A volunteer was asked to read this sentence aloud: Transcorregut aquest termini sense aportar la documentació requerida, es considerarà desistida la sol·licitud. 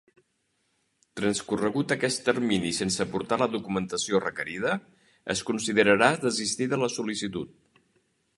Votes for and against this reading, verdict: 3, 0, accepted